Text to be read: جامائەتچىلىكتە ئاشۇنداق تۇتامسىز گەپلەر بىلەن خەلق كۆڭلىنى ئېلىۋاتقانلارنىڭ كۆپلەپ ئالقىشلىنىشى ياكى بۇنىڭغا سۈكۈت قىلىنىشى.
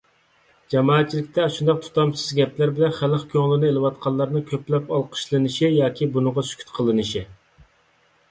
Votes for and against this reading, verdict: 2, 0, accepted